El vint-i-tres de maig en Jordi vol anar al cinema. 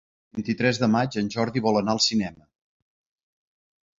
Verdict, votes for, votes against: rejected, 0, 2